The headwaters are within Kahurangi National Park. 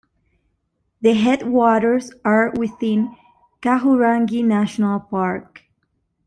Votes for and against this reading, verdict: 2, 0, accepted